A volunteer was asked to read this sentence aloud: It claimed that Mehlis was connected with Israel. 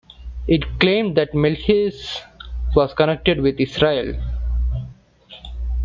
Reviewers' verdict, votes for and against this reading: rejected, 0, 2